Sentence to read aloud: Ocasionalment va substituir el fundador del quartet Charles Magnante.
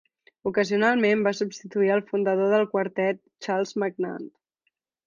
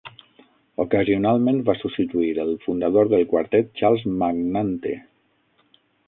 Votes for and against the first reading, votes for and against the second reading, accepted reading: 2, 0, 3, 6, first